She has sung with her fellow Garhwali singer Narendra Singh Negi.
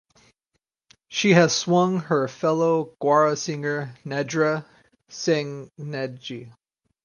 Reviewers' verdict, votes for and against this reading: rejected, 2, 4